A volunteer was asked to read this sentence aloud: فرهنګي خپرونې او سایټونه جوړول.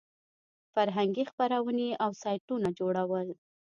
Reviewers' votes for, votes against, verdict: 2, 0, accepted